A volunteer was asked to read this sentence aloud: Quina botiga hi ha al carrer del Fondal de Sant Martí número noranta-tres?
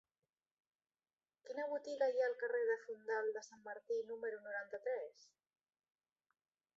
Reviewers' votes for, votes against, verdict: 0, 2, rejected